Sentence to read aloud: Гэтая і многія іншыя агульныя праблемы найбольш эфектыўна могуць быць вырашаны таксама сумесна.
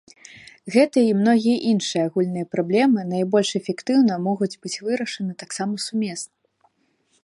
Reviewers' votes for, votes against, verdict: 2, 0, accepted